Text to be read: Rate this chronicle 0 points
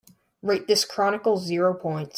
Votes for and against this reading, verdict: 0, 2, rejected